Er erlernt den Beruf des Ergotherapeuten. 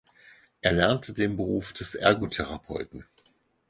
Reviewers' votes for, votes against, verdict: 2, 4, rejected